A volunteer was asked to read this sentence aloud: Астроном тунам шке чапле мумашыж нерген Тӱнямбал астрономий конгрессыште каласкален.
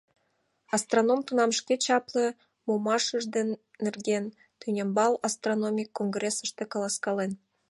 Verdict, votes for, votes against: rejected, 0, 2